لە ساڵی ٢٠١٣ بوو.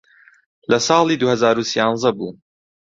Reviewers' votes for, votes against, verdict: 0, 2, rejected